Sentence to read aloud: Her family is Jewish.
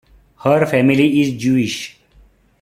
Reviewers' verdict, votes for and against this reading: accepted, 2, 0